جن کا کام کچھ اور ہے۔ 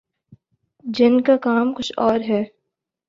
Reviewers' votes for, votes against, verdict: 2, 0, accepted